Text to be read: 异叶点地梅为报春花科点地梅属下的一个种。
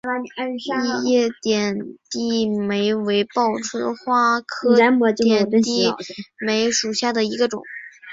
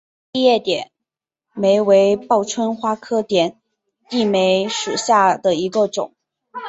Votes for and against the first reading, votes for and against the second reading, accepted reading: 1, 3, 2, 0, second